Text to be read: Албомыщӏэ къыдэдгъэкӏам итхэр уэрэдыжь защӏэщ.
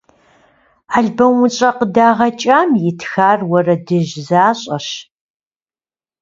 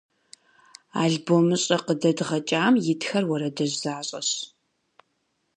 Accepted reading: second